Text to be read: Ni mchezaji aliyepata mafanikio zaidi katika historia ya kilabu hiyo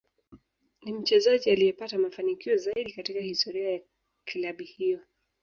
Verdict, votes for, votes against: accepted, 3, 0